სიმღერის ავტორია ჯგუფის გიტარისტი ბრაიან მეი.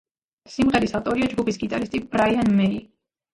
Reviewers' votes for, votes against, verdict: 0, 2, rejected